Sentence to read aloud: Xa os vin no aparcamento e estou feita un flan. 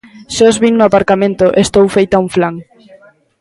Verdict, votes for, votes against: accepted, 3, 0